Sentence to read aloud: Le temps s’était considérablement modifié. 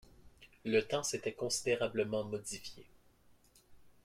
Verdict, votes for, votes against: rejected, 0, 2